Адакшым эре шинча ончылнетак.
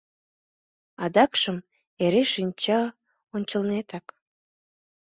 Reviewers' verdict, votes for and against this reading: accepted, 2, 0